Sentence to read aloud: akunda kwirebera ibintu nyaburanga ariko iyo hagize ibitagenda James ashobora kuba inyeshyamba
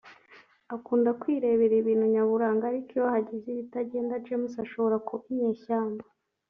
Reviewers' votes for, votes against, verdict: 1, 2, rejected